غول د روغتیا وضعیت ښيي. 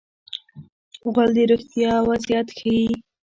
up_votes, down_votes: 0, 2